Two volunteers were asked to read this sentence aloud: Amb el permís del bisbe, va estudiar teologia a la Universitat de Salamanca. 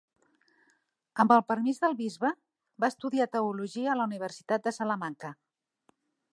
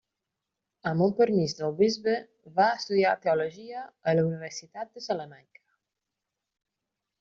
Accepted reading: first